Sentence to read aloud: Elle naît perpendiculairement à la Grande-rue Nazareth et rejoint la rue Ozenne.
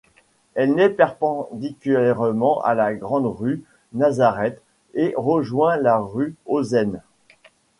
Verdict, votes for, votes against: rejected, 0, 2